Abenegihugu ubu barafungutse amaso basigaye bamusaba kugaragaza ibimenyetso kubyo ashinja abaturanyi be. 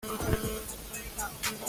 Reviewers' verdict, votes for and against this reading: rejected, 0, 3